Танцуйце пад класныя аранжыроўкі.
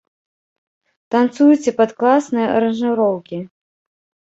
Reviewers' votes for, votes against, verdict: 1, 3, rejected